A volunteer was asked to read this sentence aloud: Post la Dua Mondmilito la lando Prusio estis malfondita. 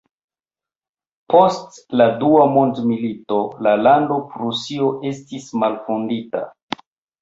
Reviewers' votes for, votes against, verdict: 1, 2, rejected